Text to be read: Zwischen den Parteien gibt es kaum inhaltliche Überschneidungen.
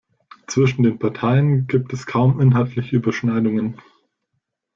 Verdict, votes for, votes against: accepted, 2, 0